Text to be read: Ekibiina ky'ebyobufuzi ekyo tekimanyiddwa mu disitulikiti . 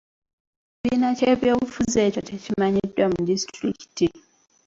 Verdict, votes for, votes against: rejected, 1, 2